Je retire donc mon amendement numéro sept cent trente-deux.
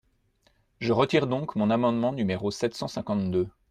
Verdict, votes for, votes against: rejected, 0, 2